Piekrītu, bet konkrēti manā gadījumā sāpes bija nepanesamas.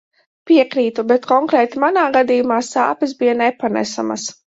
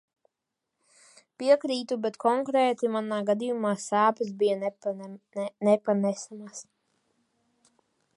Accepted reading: first